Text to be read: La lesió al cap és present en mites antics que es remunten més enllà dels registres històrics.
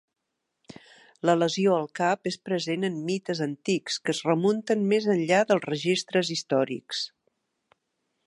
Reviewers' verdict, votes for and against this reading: accepted, 2, 0